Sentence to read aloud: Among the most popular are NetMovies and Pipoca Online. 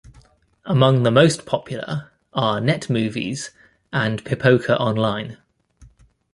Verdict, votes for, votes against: accepted, 2, 0